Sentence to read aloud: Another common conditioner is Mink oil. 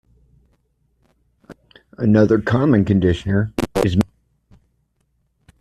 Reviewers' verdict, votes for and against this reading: rejected, 0, 2